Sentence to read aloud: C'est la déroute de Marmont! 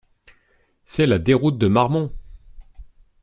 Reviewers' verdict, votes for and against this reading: accepted, 2, 0